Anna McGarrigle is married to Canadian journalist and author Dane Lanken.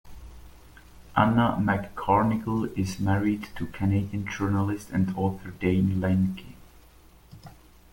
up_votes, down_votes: 1, 2